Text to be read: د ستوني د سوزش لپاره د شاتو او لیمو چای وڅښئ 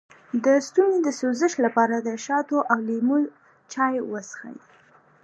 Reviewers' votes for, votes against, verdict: 2, 0, accepted